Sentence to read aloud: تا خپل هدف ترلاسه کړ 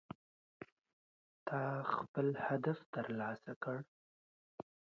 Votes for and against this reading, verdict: 0, 2, rejected